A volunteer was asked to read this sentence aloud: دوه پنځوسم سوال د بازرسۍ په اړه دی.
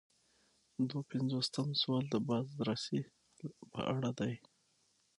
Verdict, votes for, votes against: accepted, 6, 0